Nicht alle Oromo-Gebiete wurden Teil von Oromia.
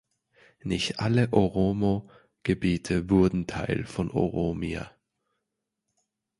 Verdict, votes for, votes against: accepted, 2, 1